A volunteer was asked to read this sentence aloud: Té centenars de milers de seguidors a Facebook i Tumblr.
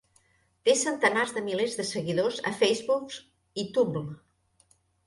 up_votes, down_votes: 1, 2